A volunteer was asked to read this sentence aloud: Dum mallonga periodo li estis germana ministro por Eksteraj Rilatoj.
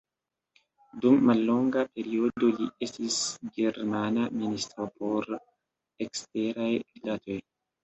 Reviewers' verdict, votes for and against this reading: rejected, 1, 2